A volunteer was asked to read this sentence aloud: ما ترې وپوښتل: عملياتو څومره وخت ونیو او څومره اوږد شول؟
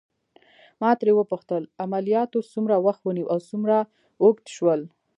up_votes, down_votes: 2, 0